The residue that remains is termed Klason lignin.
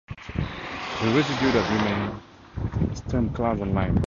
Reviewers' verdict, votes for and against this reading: rejected, 0, 2